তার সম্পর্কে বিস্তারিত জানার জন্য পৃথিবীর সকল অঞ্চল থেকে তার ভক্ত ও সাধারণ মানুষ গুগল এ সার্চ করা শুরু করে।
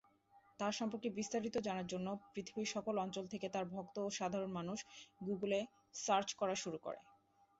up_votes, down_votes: 2, 0